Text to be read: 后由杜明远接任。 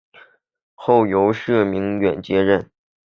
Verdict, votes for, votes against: rejected, 2, 3